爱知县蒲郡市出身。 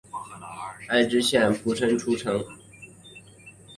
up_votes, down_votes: 1, 2